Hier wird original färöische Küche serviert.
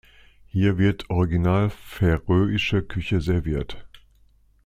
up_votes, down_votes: 2, 0